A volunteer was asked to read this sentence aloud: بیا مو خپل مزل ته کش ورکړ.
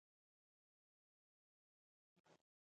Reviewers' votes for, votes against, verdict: 0, 2, rejected